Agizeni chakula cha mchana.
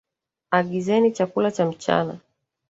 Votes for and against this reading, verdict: 1, 2, rejected